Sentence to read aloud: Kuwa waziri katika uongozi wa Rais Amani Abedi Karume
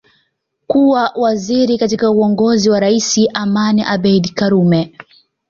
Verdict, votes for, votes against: accepted, 2, 0